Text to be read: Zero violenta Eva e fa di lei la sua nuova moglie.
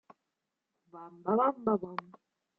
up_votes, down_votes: 0, 2